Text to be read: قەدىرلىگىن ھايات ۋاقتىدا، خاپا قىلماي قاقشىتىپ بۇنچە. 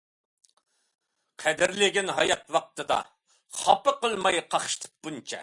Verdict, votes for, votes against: accepted, 2, 0